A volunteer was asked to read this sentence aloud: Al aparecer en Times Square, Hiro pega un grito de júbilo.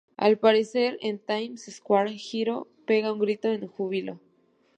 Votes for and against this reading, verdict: 0, 2, rejected